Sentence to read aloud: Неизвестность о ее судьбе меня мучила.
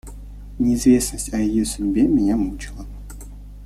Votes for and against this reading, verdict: 2, 0, accepted